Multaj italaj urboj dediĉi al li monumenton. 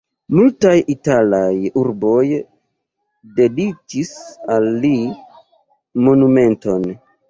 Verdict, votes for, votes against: rejected, 1, 2